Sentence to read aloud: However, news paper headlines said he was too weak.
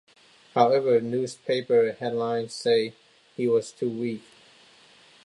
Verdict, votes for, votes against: rejected, 0, 2